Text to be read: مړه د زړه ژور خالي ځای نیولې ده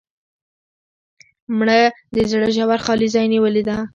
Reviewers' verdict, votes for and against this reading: rejected, 1, 2